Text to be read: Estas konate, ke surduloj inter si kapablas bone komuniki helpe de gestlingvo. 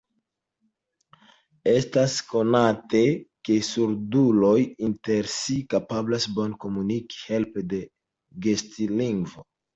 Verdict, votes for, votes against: accepted, 2, 0